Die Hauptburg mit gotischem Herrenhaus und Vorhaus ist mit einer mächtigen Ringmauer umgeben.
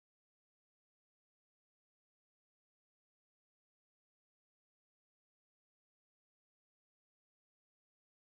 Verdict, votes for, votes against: rejected, 0, 2